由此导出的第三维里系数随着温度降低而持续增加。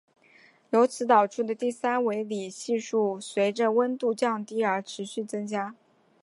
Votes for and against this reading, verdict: 4, 0, accepted